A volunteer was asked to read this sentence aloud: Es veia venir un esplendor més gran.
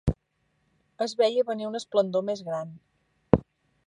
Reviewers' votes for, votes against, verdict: 4, 0, accepted